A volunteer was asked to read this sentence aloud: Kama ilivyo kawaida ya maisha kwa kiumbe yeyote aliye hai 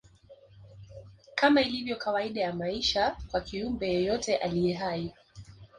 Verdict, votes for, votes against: accepted, 3, 2